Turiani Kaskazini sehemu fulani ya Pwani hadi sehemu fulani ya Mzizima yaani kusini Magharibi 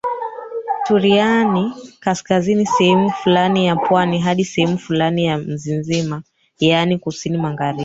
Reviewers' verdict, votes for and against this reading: rejected, 0, 2